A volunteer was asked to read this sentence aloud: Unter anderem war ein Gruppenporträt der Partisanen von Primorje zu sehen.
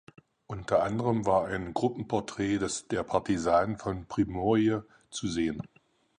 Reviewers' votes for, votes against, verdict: 0, 4, rejected